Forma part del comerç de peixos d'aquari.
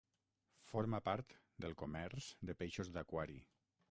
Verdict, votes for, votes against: rejected, 3, 6